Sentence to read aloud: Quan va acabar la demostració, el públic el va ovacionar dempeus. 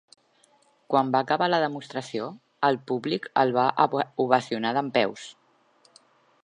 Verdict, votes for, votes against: rejected, 1, 2